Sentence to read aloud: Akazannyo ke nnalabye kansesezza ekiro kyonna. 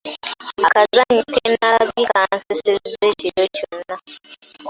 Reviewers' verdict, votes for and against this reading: rejected, 1, 2